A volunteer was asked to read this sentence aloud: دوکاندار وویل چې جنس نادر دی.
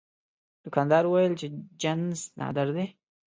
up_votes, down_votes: 1, 2